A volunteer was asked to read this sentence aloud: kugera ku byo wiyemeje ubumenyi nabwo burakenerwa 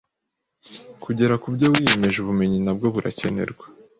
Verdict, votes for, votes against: accepted, 2, 0